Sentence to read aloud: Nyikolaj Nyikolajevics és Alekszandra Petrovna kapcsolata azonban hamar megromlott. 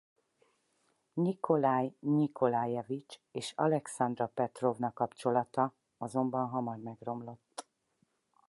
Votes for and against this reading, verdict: 4, 0, accepted